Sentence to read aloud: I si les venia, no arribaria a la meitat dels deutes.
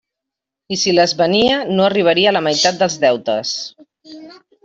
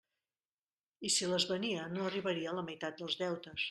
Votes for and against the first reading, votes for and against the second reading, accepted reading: 1, 2, 2, 0, second